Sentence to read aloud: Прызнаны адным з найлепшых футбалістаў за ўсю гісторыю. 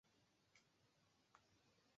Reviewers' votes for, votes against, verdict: 1, 2, rejected